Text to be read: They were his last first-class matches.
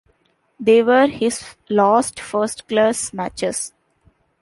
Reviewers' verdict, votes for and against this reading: accepted, 2, 0